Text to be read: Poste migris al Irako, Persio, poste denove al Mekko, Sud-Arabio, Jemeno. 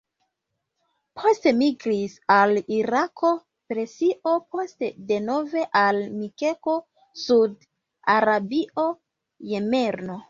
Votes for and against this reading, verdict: 0, 2, rejected